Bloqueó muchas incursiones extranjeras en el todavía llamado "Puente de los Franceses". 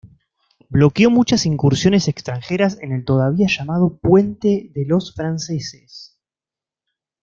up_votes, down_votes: 2, 0